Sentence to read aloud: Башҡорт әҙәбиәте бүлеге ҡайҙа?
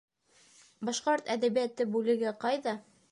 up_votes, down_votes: 1, 2